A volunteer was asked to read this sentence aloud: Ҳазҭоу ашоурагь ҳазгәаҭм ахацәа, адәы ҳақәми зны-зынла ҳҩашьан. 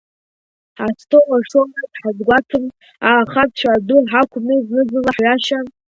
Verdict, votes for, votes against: rejected, 0, 2